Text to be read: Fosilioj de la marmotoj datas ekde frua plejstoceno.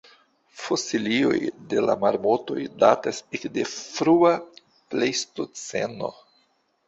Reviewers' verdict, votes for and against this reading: accepted, 2, 0